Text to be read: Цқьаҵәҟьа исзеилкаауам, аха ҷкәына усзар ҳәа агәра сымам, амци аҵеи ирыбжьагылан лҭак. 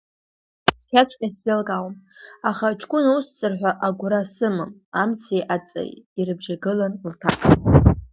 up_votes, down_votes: 0, 2